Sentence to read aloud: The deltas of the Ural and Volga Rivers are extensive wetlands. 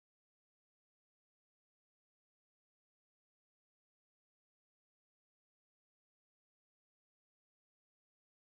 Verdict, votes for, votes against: rejected, 0, 2